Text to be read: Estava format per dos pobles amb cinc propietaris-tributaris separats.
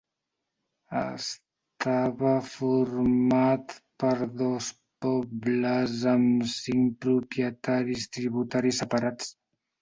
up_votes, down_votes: 1, 2